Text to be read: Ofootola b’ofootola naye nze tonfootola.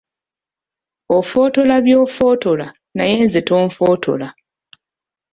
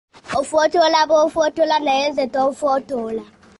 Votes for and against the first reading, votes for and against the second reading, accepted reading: 1, 2, 2, 0, second